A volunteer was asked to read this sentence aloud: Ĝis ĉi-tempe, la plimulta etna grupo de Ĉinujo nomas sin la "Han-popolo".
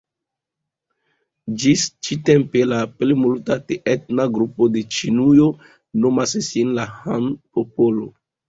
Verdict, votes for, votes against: rejected, 1, 2